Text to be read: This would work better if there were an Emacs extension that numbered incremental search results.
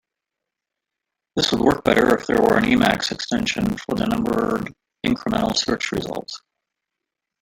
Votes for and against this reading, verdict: 1, 2, rejected